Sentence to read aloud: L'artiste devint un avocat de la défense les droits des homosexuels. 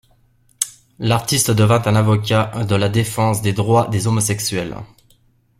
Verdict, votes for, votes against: rejected, 1, 2